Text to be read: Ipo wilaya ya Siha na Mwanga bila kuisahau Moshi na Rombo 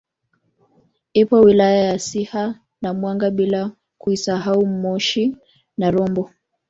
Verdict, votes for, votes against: accepted, 3, 1